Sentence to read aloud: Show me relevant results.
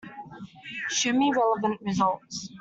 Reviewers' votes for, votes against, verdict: 1, 2, rejected